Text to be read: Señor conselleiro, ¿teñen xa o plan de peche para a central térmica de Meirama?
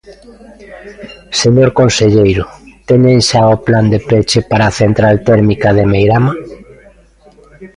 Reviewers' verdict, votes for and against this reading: rejected, 1, 2